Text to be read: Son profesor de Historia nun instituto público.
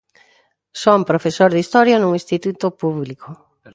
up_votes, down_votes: 2, 0